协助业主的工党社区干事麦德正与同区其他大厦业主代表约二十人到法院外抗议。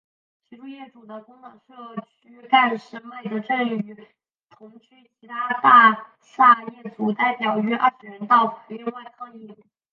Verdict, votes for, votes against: rejected, 2, 4